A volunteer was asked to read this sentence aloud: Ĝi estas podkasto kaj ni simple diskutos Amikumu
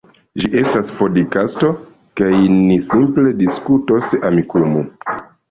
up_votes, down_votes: 0, 2